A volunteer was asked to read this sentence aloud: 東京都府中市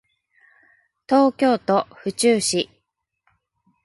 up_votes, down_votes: 4, 0